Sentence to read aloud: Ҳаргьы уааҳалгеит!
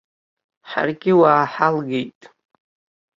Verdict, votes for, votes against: accepted, 2, 0